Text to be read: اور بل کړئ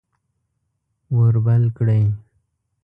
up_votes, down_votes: 2, 0